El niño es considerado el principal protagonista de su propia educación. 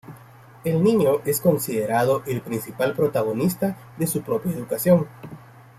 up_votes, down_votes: 2, 0